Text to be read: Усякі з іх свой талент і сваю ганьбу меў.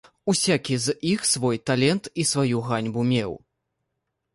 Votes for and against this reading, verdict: 1, 2, rejected